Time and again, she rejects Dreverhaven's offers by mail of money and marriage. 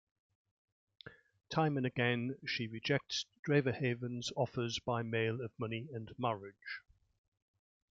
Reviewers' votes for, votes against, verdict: 2, 1, accepted